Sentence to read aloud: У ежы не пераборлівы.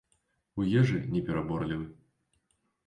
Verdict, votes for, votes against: accepted, 2, 0